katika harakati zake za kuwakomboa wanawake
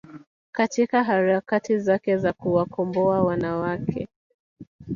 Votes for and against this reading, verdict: 2, 0, accepted